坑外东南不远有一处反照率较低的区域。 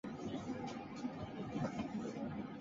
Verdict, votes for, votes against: rejected, 0, 3